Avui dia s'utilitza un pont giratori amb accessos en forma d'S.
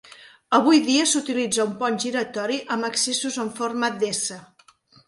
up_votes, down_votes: 2, 0